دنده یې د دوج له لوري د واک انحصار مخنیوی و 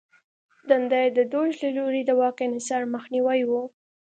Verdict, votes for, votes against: accepted, 2, 0